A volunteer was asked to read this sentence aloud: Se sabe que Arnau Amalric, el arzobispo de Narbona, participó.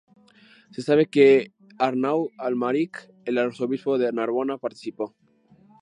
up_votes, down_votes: 0, 2